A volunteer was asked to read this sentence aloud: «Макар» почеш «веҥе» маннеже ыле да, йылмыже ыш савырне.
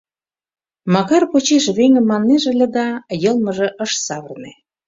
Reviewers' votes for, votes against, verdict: 2, 0, accepted